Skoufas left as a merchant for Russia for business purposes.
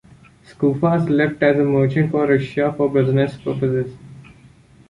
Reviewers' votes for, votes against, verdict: 1, 2, rejected